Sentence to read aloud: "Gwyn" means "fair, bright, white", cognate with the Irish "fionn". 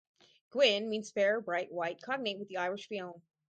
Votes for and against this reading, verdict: 2, 2, rejected